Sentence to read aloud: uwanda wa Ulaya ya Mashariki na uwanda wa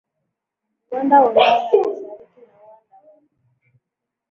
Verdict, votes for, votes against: rejected, 1, 2